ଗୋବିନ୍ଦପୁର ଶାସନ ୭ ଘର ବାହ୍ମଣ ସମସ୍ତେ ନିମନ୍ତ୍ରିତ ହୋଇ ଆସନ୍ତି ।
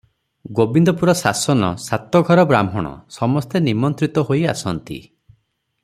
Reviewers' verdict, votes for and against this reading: rejected, 0, 2